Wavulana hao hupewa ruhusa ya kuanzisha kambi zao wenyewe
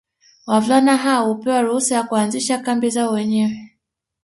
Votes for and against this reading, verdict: 2, 1, accepted